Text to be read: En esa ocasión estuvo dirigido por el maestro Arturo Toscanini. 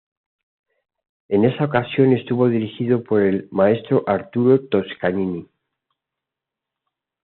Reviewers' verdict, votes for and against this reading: accepted, 2, 0